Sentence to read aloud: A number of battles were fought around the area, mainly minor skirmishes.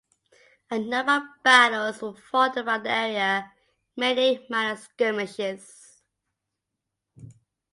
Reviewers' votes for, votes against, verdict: 0, 2, rejected